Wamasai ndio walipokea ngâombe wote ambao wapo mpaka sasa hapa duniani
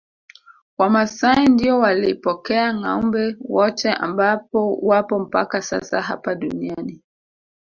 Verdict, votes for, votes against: accepted, 2, 0